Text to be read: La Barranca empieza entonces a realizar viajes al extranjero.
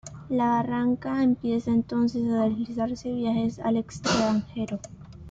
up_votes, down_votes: 2, 1